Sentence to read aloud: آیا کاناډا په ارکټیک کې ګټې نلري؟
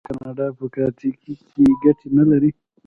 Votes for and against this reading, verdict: 0, 2, rejected